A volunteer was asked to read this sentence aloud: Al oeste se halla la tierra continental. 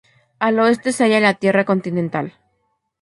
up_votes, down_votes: 0, 2